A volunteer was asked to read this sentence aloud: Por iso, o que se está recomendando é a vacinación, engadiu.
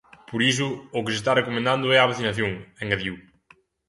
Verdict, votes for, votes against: accepted, 2, 0